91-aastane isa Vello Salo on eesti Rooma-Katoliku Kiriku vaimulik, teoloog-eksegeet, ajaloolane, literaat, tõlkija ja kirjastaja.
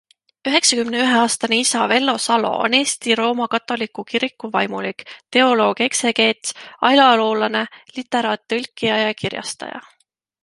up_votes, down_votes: 0, 2